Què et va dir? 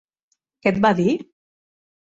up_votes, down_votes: 3, 0